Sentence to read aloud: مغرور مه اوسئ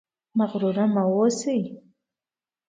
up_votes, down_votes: 2, 0